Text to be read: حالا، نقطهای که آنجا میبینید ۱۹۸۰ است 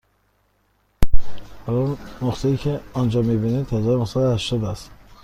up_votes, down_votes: 0, 2